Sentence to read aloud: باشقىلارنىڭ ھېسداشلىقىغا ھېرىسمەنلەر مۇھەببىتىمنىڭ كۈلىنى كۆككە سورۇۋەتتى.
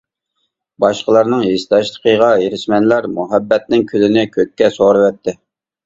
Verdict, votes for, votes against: accepted, 2, 1